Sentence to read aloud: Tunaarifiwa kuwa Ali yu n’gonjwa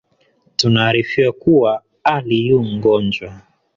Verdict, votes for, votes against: accepted, 3, 2